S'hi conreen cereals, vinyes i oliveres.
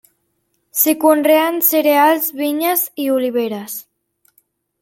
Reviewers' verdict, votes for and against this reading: accepted, 3, 0